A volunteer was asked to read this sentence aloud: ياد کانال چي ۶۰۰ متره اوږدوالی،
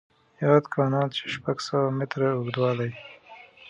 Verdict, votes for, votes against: rejected, 0, 2